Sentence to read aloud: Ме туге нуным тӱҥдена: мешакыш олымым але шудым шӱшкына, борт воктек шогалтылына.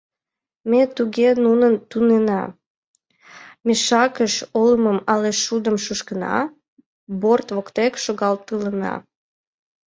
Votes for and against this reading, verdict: 1, 5, rejected